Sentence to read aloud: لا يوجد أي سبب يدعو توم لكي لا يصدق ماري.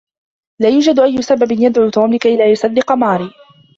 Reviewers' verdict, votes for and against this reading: rejected, 1, 2